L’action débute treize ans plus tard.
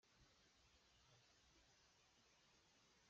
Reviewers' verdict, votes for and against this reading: rejected, 0, 2